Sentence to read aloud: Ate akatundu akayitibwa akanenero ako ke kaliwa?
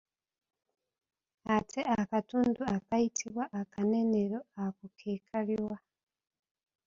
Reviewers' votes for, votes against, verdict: 2, 0, accepted